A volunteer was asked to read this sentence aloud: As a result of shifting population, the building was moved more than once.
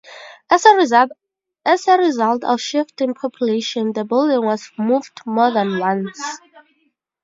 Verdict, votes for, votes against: rejected, 0, 4